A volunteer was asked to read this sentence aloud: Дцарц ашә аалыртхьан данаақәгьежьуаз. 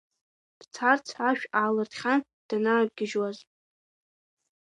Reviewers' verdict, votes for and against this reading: accepted, 2, 1